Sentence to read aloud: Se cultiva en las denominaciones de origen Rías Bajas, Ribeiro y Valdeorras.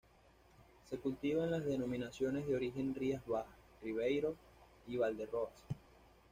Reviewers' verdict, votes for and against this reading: accepted, 2, 0